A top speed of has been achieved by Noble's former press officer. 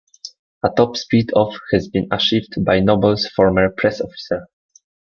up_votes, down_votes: 1, 2